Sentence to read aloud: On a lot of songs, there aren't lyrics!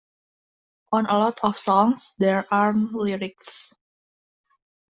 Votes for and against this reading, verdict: 2, 0, accepted